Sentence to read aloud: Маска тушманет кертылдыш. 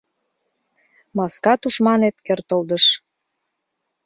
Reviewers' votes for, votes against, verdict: 2, 0, accepted